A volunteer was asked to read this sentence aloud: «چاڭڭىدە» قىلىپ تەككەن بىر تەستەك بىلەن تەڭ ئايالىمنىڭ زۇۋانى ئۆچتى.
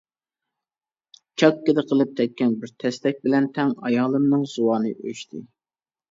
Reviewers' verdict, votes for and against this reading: rejected, 0, 2